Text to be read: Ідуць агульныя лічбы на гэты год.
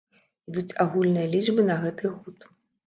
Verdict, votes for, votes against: rejected, 1, 2